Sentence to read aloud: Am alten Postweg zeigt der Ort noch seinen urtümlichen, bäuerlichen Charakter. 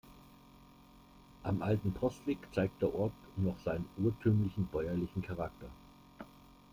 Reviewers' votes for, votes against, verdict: 2, 0, accepted